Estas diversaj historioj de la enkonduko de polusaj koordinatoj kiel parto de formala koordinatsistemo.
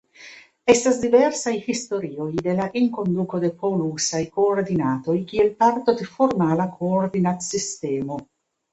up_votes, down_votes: 2, 1